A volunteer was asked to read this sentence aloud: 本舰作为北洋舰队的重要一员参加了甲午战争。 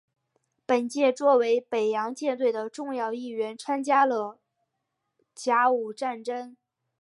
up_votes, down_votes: 2, 0